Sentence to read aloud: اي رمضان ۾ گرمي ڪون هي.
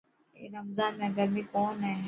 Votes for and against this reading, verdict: 2, 0, accepted